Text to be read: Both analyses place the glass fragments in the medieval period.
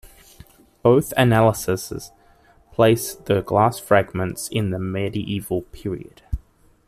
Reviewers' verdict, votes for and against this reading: rejected, 0, 2